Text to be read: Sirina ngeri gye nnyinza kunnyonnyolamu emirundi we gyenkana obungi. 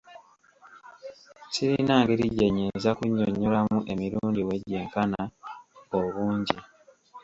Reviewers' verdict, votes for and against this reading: accepted, 2, 0